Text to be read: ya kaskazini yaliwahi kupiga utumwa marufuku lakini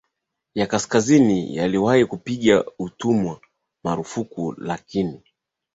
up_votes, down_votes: 2, 0